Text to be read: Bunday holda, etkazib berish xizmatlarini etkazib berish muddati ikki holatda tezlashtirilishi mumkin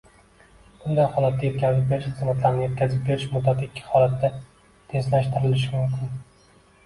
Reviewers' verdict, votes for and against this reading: rejected, 0, 2